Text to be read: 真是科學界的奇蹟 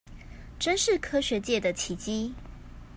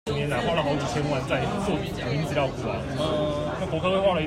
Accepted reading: first